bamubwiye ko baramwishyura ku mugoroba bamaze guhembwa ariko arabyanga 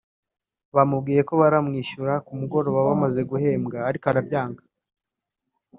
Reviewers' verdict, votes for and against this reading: accepted, 2, 0